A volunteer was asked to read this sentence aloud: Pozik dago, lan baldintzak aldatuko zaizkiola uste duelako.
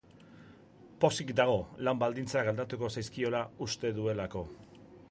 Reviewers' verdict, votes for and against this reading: accepted, 2, 0